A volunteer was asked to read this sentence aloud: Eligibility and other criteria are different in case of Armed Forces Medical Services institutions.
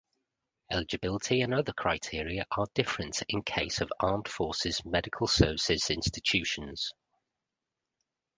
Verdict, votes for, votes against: accepted, 2, 1